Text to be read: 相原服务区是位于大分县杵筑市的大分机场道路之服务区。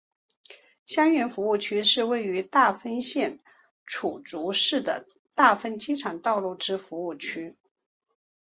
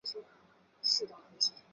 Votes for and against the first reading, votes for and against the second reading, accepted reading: 3, 0, 0, 3, first